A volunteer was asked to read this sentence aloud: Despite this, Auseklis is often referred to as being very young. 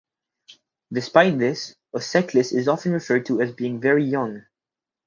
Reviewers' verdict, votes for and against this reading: accepted, 4, 0